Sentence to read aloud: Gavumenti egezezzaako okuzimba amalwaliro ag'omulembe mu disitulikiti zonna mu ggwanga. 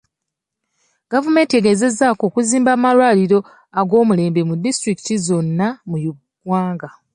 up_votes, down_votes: 2, 0